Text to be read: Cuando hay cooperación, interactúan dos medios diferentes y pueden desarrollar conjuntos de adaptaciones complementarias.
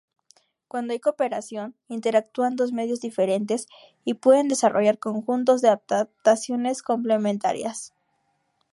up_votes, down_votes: 0, 2